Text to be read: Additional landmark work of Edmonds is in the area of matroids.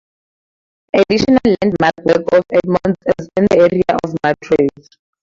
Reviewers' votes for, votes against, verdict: 2, 0, accepted